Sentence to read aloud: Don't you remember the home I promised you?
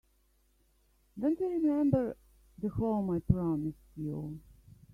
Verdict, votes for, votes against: rejected, 1, 2